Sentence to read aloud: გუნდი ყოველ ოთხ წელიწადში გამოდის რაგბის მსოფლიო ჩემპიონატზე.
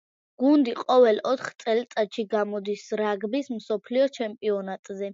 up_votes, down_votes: 2, 0